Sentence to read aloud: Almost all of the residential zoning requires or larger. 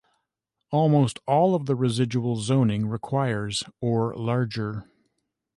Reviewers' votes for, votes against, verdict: 1, 2, rejected